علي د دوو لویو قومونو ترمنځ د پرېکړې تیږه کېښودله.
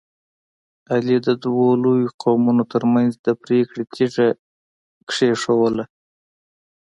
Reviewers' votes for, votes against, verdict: 2, 0, accepted